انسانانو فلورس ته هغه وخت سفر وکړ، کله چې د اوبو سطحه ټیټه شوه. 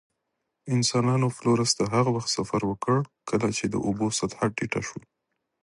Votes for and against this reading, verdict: 2, 0, accepted